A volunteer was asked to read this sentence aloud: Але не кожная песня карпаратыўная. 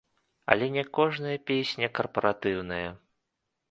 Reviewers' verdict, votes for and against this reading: accepted, 2, 0